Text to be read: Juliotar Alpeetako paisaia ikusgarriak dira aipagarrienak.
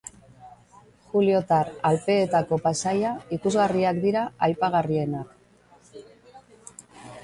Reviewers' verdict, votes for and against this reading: rejected, 1, 2